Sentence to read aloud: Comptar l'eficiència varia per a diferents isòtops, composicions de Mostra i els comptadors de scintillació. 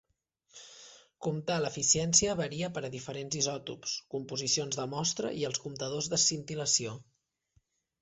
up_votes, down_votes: 2, 0